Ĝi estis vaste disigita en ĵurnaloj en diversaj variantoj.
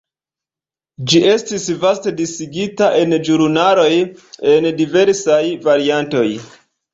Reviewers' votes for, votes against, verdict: 1, 2, rejected